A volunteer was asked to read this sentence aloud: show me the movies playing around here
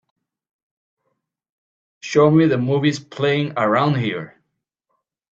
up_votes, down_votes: 4, 0